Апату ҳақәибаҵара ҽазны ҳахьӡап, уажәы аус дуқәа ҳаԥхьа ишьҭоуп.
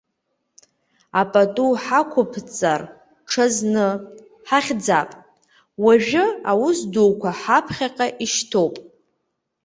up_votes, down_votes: 2, 1